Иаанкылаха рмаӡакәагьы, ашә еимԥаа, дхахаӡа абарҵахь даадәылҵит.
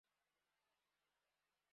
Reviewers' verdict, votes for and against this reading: rejected, 0, 2